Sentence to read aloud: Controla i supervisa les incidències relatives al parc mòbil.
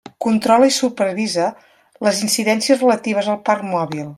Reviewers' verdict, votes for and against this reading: accepted, 3, 0